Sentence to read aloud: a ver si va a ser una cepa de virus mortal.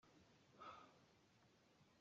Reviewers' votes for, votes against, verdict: 0, 2, rejected